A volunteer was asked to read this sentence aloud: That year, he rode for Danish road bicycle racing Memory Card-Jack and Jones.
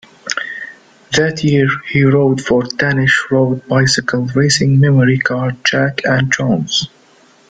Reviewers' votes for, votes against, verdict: 2, 0, accepted